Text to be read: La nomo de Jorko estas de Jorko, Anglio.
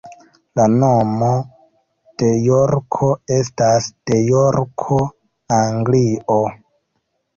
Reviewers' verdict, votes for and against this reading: accepted, 2, 0